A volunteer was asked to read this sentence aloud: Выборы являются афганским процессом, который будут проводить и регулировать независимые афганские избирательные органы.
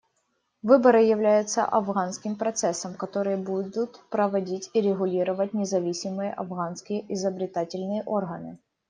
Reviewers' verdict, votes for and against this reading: rejected, 0, 2